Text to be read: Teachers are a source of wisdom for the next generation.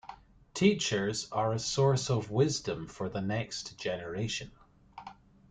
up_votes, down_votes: 2, 0